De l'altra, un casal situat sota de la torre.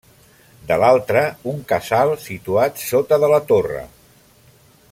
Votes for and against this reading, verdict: 1, 2, rejected